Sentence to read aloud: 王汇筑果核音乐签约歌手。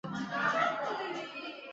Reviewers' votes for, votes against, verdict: 0, 2, rejected